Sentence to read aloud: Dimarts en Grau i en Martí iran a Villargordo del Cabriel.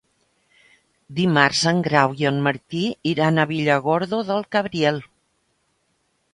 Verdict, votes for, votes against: accepted, 2, 0